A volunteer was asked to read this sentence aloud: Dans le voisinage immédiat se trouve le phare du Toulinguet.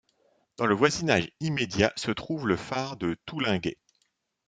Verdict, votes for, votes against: rejected, 0, 2